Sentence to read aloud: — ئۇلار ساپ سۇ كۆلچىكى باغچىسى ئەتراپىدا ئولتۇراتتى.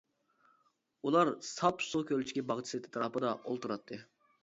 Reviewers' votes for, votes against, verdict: 0, 2, rejected